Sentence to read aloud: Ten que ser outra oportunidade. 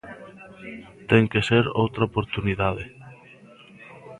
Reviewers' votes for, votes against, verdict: 3, 1, accepted